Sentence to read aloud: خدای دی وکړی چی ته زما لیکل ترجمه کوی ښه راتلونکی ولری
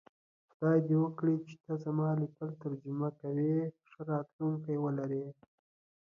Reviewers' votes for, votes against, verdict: 3, 2, accepted